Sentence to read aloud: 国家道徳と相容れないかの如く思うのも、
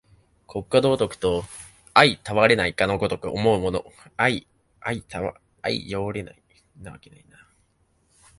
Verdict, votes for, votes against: rejected, 0, 5